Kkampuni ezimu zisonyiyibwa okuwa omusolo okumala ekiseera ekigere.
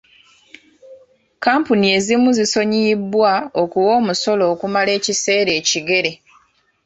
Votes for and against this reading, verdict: 0, 2, rejected